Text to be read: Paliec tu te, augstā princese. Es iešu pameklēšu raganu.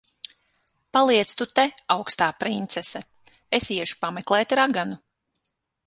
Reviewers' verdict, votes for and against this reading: rejected, 0, 6